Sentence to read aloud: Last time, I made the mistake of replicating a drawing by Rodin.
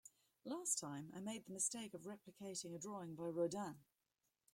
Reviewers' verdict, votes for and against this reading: rejected, 1, 2